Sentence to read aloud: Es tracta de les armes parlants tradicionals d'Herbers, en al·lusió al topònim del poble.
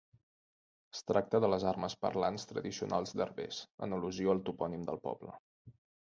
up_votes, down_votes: 3, 0